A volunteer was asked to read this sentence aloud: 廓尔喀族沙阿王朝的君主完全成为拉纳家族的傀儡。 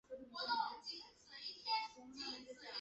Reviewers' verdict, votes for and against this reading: rejected, 2, 3